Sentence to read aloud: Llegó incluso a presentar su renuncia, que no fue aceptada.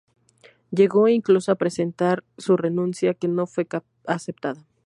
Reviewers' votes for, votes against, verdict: 2, 2, rejected